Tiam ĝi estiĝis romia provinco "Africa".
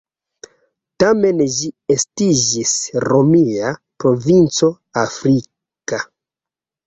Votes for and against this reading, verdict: 0, 2, rejected